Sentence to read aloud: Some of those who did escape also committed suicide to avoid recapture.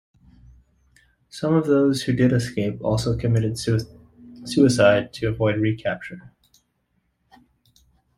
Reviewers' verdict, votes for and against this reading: accepted, 2, 1